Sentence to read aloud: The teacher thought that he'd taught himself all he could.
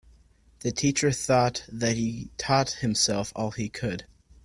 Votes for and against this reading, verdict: 2, 1, accepted